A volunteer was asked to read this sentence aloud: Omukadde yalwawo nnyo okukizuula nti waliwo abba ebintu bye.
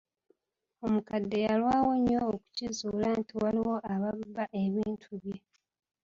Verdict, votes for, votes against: accepted, 5, 2